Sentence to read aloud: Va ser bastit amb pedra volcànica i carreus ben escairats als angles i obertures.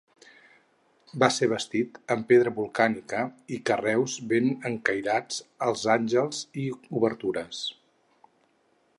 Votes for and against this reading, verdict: 2, 4, rejected